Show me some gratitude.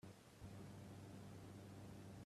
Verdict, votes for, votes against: rejected, 0, 2